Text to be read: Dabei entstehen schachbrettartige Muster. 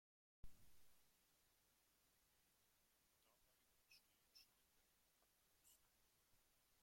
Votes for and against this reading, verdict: 0, 2, rejected